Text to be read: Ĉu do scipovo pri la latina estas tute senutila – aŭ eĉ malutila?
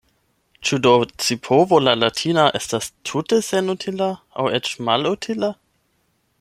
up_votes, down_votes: 0, 8